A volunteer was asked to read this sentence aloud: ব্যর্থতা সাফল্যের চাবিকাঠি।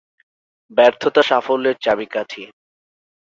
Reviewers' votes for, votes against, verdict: 2, 0, accepted